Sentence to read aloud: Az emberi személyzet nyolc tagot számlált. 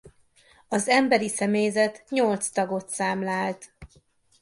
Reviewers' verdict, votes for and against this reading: accepted, 2, 0